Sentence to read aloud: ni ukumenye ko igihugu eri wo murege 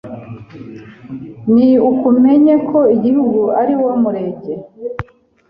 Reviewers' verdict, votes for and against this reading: rejected, 1, 2